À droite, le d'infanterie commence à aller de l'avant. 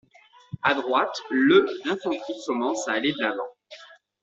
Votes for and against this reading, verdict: 2, 0, accepted